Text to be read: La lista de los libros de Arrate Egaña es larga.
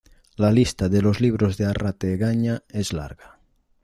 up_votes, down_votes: 2, 0